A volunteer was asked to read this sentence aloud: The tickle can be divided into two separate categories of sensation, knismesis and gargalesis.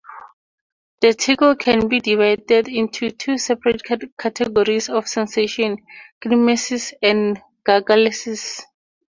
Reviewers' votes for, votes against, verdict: 4, 0, accepted